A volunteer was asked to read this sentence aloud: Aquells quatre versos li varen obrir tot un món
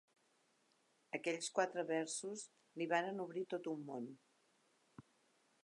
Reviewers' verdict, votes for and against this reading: accepted, 4, 0